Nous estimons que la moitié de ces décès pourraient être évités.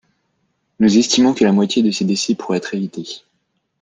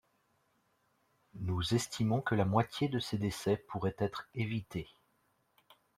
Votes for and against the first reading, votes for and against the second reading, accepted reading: 2, 3, 2, 0, second